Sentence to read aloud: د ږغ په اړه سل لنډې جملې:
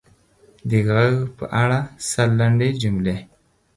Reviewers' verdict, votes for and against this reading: accepted, 4, 0